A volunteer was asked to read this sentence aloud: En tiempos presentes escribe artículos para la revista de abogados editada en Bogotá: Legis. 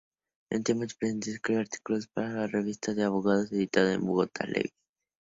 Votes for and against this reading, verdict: 0, 2, rejected